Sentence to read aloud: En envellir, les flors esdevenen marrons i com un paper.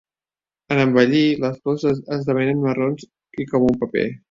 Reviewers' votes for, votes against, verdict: 0, 2, rejected